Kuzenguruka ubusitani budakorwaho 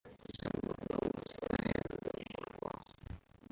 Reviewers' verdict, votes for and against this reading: rejected, 0, 2